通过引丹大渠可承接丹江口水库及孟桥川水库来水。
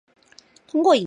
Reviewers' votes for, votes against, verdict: 1, 2, rejected